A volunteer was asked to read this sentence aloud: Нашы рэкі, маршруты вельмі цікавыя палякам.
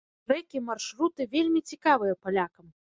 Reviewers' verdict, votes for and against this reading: rejected, 0, 2